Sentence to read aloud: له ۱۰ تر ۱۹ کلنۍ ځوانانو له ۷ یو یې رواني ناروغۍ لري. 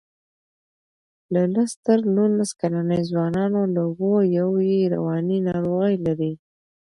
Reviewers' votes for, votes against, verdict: 0, 2, rejected